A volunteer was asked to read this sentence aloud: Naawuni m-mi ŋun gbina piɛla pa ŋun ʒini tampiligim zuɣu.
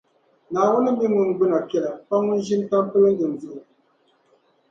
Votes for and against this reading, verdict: 2, 0, accepted